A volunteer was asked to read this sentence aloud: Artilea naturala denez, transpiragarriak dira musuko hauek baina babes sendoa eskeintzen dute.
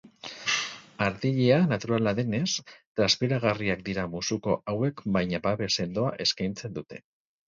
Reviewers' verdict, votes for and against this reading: accepted, 4, 0